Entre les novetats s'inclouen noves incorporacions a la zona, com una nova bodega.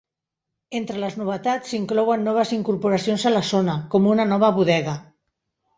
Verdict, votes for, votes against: rejected, 2, 3